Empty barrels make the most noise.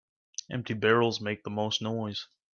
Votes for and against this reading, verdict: 3, 0, accepted